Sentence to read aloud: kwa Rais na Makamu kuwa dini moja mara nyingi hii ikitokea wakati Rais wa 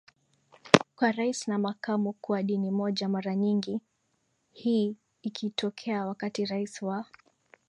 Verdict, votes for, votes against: accepted, 6, 1